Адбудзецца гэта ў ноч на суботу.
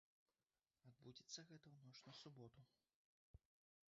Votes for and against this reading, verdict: 0, 2, rejected